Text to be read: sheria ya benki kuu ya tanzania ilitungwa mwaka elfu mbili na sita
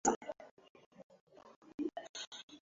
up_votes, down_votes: 0, 3